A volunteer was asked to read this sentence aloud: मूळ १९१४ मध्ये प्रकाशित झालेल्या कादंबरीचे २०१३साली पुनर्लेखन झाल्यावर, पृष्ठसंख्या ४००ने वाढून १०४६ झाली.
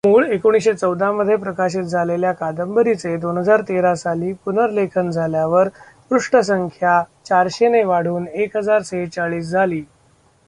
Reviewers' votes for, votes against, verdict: 0, 2, rejected